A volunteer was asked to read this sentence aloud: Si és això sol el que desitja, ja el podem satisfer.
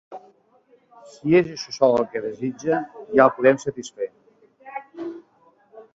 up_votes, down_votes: 0, 2